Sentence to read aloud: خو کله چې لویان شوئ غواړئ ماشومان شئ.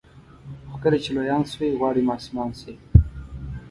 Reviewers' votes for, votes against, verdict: 1, 2, rejected